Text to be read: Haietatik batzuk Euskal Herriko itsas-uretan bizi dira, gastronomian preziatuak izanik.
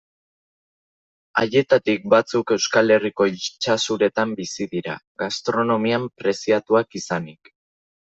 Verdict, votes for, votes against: rejected, 0, 2